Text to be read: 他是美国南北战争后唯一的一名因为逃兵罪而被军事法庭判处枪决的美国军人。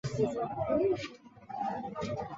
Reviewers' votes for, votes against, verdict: 0, 5, rejected